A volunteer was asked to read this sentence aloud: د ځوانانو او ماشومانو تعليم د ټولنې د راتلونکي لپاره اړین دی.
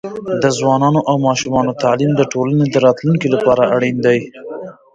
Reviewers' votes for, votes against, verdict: 1, 2, rejected